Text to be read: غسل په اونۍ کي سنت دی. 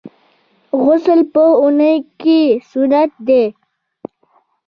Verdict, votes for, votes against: accepted, 2, 1